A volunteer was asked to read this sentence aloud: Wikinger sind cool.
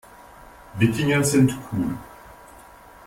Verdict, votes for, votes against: accepted, 2, 0